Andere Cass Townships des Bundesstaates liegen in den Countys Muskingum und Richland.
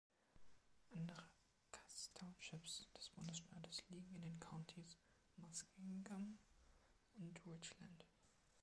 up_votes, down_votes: 1, 2